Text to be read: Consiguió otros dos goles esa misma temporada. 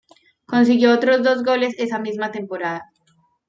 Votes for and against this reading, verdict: 1, 2, rejected